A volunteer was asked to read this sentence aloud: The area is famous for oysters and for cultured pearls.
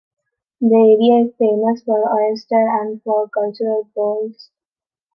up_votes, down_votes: 0, 2